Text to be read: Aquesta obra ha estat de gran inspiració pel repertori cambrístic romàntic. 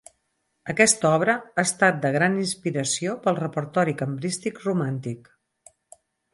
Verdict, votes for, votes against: accepted, 4, 0